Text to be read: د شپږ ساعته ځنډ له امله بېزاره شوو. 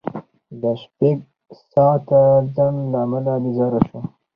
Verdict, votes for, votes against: rejected, 2, 2